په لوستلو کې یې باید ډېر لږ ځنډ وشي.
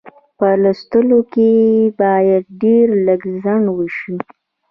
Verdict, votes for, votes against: rejected, 1, 2